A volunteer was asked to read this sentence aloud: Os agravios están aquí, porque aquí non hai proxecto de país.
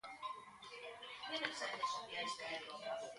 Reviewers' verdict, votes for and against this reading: rejected, 0, 2